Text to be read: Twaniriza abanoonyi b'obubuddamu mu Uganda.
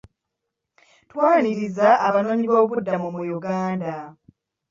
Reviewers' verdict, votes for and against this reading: rejected, 1, 2